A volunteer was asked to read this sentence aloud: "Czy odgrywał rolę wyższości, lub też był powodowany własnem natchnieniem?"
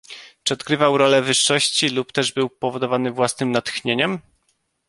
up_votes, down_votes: 1, 2